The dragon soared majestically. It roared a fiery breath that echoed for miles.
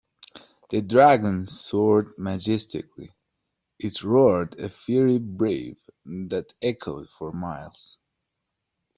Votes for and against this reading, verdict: 0, 2, rejected